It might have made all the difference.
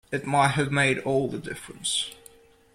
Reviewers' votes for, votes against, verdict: 2, 0, accepted